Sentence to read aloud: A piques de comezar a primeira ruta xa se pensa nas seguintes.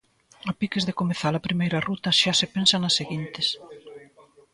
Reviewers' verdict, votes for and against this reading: accepted, 2, 0